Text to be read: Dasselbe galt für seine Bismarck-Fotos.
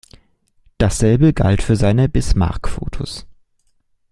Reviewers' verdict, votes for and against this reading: accepted, 2, 0